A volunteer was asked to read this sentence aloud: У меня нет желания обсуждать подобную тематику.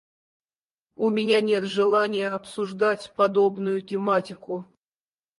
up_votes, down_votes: 2, 2